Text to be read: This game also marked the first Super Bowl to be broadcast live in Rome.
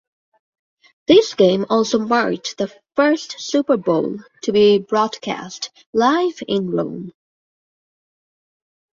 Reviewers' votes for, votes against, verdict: 2, 0, accepted